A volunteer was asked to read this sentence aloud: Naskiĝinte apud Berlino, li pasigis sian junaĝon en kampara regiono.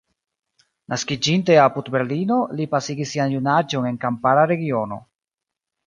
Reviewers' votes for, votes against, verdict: 1, 2, rejected